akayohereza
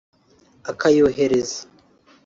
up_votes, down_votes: 1, 2